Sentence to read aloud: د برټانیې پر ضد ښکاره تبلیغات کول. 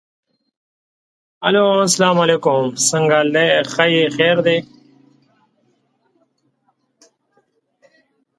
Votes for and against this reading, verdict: 0, 2, rejected